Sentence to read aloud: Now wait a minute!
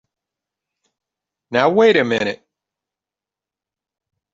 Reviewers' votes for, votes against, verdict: 3, 0, accepted